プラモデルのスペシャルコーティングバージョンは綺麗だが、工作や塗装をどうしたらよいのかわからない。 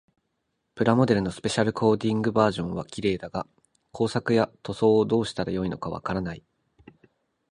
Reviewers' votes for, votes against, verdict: 2, 0, accepted